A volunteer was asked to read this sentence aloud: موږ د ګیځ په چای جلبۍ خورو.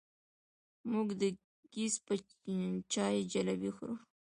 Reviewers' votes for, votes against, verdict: 2, 1, accepted